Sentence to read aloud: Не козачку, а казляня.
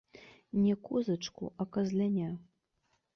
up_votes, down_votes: 2, 0